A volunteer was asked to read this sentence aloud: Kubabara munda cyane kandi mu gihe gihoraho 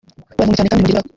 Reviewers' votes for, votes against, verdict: 0, 2, rejected